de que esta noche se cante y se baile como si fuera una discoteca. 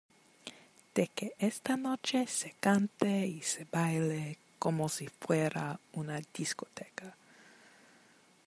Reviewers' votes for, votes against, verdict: 2, 0, accepted